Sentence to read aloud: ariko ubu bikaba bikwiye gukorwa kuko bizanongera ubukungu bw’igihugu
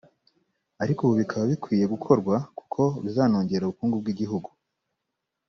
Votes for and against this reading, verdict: 0, 2, rejected